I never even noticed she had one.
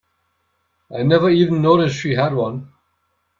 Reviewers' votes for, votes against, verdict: 2, 0, accepted